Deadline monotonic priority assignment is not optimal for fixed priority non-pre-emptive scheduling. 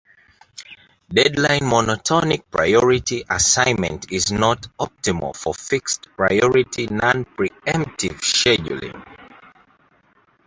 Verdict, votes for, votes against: accepted, 2, 0